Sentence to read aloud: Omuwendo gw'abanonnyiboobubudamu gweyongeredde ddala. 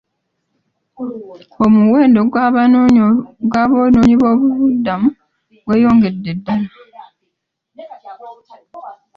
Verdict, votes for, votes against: rejected, 0, 2